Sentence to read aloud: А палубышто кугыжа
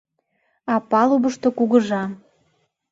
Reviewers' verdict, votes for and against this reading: accepted, 2, 0